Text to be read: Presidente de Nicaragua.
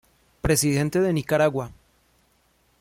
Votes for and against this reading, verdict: 2, 0, accepted